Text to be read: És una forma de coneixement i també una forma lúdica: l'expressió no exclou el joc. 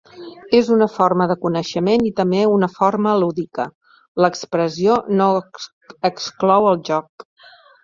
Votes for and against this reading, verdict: 0, 2, rejected